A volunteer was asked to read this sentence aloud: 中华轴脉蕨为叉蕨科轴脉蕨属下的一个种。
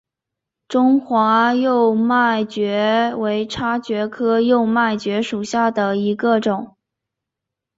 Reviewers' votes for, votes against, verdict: 2, 2, rejected